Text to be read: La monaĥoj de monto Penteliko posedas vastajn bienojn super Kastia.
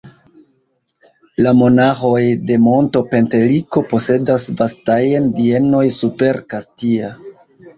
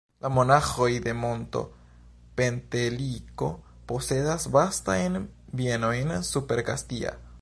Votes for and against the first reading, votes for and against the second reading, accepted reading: 0, 2, 2, 0, second